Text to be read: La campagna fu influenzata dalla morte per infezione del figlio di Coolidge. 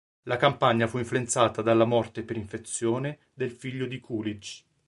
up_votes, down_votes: 4, 0